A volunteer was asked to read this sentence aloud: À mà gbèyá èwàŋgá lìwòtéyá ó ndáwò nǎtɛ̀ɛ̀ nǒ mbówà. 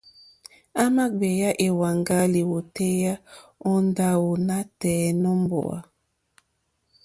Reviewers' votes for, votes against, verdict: 2, 0, accepted